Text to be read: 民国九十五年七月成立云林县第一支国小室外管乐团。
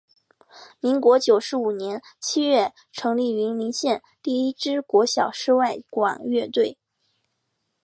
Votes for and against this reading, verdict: 1, 2, rejected